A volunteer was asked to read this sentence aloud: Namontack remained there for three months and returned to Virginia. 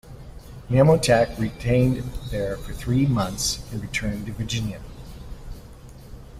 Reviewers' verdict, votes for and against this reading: rejected, 1, 2